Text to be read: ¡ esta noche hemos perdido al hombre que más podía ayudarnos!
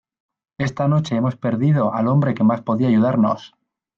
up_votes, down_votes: 2, 0